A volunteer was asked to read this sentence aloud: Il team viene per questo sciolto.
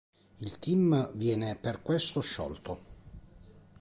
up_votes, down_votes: 2, 0